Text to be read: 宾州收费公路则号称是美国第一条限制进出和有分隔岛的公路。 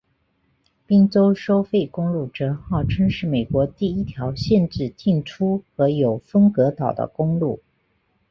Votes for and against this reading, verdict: 4, 0, accepted